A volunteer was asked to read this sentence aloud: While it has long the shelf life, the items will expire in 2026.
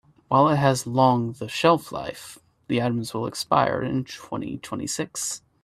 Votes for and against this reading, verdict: 0, 2, rejected